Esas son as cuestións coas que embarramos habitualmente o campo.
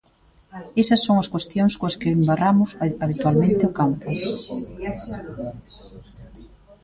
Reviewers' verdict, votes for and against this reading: rejected, 0, 2